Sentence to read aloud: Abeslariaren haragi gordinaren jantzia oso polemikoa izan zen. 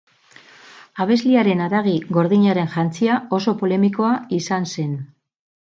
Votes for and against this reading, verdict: 2, 6, rejected